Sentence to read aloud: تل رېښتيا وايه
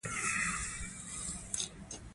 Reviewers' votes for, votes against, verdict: 0, 2, rejected